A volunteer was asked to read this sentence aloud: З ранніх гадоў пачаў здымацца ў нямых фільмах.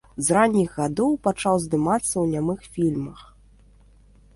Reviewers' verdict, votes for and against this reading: accepted, 2, 0